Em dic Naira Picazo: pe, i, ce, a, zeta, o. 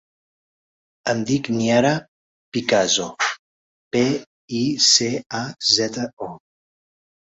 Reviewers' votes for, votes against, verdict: 0, 2, rejected